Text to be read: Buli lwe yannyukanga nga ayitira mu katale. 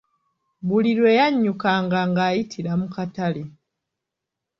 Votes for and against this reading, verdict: 2, 0, accepted